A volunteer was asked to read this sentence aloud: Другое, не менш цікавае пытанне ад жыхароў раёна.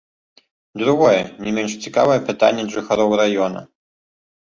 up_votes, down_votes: 2, 0